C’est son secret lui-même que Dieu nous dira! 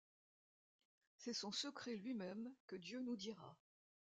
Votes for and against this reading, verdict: 2, 0, accepted